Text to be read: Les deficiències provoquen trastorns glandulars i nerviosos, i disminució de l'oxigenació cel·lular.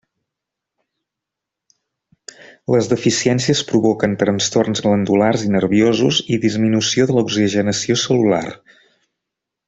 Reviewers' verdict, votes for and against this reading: accepted, 2, 0